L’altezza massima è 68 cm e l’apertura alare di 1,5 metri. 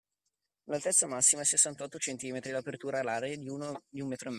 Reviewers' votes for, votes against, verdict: 0, 2, rejected